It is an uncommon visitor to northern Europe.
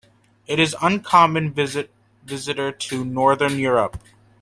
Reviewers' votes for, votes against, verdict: 0, 2, rejected